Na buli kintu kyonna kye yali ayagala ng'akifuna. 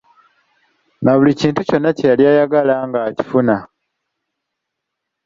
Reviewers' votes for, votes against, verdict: 2, 0, accepted